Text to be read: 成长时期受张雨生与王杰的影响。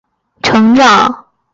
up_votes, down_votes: 1, 2